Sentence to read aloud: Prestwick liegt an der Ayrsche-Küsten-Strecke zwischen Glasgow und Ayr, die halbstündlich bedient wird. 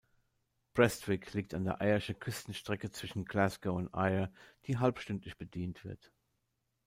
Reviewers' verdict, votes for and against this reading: accepted, 2, 0